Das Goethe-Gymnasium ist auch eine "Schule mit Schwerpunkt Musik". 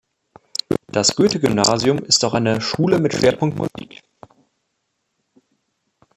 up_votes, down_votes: 0, 2